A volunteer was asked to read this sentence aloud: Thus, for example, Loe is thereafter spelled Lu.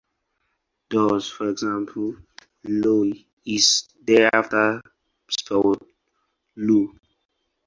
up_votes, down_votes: 2, 2